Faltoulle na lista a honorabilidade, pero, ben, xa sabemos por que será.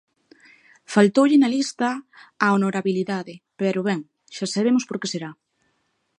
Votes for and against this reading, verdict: 2, 0, accepted